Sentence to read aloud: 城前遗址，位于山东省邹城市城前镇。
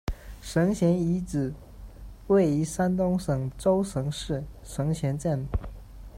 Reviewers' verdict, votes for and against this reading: rejected, 1, 2